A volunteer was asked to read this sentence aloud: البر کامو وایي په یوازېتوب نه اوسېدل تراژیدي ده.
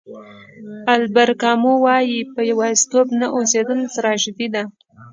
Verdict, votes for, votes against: accepted, 2, 1